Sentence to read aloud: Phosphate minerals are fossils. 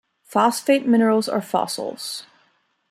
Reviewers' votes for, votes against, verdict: 2, 1, accepted